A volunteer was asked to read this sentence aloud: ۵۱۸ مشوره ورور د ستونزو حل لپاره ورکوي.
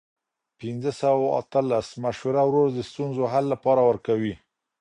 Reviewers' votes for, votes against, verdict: 0, 2, rejected